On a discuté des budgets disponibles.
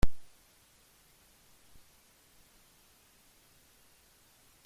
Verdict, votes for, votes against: rejected, 0, 2